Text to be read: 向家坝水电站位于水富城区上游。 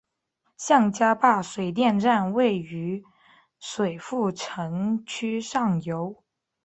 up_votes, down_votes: 3, 0